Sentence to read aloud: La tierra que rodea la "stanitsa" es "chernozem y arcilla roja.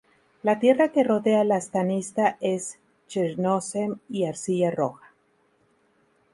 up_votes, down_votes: 4, 0